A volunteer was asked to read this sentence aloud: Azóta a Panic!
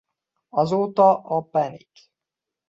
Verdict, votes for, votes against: rejected, 1, 2